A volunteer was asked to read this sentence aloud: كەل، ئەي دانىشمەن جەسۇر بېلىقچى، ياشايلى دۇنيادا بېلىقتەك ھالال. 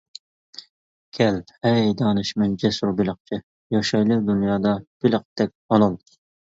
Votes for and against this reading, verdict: 0, 2, rejected